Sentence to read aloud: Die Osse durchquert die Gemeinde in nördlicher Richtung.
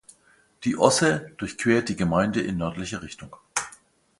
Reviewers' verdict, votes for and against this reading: accepted, 2, 0